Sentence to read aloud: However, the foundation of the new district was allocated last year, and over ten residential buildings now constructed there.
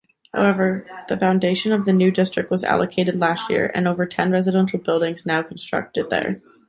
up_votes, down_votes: 2, 0